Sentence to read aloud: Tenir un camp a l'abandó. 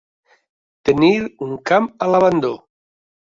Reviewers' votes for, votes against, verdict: 3, 0, accepted